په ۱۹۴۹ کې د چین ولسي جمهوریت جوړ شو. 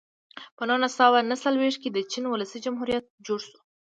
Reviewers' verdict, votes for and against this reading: rejected, 0, 2